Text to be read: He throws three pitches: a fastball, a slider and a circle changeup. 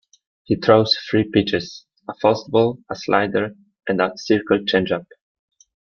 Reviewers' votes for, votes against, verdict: 2, 0, accepted